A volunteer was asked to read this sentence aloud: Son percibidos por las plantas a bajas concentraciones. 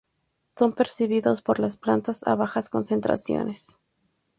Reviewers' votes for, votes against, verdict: 4, 0, accepted